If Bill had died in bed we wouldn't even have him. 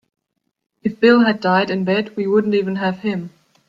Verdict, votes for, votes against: accepted, 2, 1